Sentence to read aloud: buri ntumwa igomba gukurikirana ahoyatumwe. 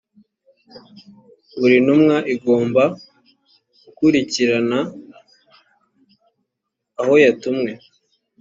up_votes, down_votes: 2, 0